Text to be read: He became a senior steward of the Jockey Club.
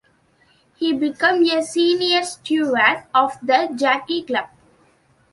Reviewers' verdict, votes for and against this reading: rejected, 0, 2